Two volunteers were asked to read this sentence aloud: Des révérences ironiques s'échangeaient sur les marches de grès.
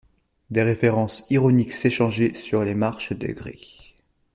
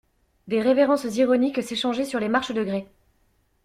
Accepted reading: second